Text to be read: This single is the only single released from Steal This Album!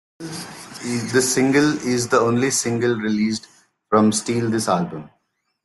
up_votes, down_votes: 0, 2